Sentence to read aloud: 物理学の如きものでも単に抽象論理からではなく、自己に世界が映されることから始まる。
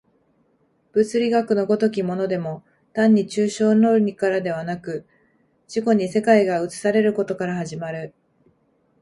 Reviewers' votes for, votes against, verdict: 2, 0, accepted